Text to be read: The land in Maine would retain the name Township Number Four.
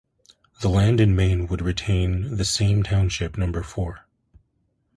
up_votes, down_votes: 0, 2